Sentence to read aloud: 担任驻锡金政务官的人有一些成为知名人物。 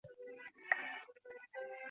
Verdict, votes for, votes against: rejected, 0, 2